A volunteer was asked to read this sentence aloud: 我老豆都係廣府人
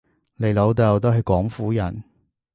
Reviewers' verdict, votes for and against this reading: rejected, 1, 2